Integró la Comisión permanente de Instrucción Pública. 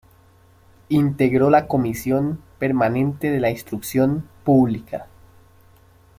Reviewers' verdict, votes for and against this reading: rejected, 1, 2